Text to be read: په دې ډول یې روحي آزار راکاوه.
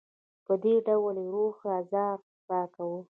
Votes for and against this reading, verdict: 2, 1, accepted